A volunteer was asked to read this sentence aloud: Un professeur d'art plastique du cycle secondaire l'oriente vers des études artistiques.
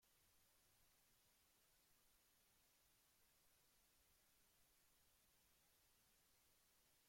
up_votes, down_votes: 1, 2